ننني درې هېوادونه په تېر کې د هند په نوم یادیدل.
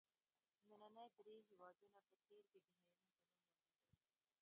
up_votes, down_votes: 1, 2